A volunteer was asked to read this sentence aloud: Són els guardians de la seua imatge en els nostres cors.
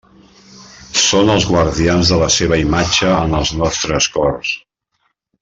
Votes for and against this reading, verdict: 1, 2, rejected